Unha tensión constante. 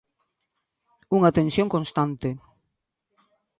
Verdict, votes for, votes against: accepted, 2, 0